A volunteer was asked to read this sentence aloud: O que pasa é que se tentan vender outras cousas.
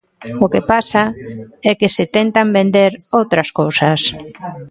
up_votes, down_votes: 2, 0